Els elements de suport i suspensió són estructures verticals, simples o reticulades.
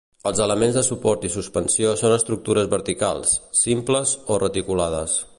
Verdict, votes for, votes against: accepted, 3, 0